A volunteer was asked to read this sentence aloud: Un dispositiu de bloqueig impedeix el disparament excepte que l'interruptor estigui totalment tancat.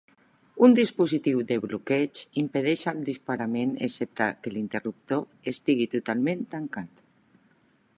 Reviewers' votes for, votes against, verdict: 1, 2, rejected